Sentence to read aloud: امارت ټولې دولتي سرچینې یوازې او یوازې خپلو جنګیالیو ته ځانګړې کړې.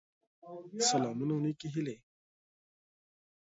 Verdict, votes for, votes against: rejected, 0, 2